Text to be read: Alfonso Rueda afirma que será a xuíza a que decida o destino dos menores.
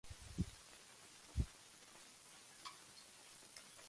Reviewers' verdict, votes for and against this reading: rejected, 0, 2